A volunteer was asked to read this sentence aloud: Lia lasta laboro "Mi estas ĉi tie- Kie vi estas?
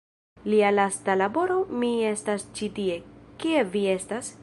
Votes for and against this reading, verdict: 2, 0, accepted